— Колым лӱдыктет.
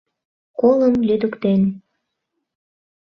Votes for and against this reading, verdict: 0, 2, rejected